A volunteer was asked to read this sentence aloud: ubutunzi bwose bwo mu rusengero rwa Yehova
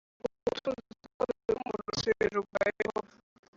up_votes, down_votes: 2, 3